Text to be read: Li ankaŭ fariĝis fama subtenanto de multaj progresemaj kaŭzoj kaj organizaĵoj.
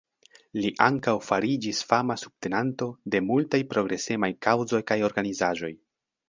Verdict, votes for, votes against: accepted, 2, 0